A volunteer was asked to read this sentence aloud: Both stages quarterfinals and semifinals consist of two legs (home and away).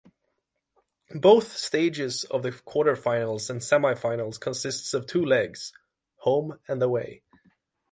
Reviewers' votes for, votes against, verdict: 0, 6, rejected